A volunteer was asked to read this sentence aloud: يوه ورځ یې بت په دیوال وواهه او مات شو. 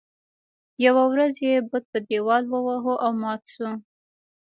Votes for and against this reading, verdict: 2, 0, accepted